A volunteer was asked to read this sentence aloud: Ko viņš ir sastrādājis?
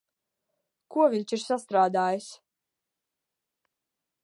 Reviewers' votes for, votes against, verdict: 2, 0, accepted